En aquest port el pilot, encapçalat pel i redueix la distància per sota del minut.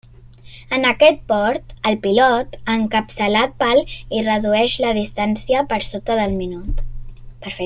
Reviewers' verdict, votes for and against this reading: rejected, 1, 2